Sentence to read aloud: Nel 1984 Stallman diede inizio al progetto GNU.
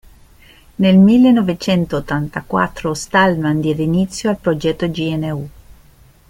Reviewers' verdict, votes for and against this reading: rejected, 0, 2